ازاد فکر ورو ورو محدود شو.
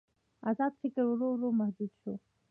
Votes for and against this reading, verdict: 0, 2, rejected